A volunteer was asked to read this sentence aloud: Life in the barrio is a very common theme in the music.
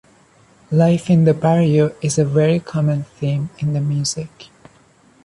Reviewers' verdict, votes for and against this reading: accepted, 2, 0